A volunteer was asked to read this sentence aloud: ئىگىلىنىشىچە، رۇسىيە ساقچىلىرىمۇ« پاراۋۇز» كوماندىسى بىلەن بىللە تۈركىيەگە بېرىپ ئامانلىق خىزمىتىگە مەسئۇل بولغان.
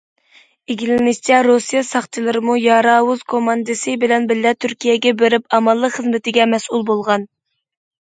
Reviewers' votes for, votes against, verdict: 2, 1, accepted